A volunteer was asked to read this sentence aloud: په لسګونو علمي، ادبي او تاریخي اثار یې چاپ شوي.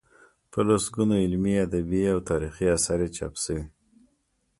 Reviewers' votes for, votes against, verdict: 2, 0, accepted